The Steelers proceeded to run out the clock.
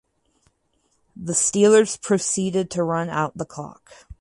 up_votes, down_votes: 4, 0